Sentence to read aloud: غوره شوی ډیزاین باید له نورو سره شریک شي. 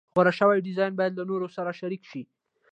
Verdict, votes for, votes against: accepted, 2, 0